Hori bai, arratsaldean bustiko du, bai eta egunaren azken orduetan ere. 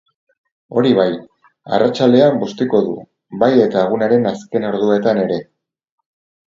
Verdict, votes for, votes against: accepted, 4, 0